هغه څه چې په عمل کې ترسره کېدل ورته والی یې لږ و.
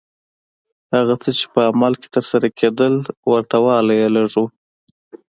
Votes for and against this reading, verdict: 2, 0, accepted